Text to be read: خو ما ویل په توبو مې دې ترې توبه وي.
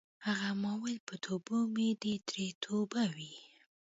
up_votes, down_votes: 1, 2